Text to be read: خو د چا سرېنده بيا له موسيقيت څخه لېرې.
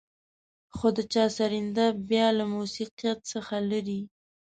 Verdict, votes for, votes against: rejected, 1, 2